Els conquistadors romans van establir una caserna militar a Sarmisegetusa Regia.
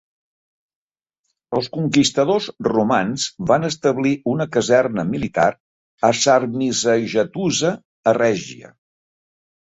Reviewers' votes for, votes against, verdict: 2, 3, rejected